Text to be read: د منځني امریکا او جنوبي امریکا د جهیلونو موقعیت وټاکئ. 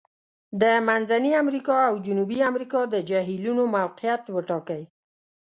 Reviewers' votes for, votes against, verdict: 2, 0, accepted